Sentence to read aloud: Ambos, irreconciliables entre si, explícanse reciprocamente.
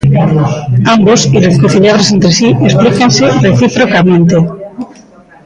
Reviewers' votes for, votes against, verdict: 0, 2, rejected